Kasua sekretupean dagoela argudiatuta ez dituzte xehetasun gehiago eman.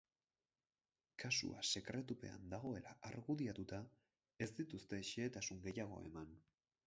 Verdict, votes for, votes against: accepted, 4, 0